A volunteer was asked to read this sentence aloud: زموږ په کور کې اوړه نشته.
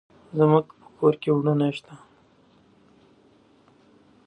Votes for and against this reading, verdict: 2, 0, accepted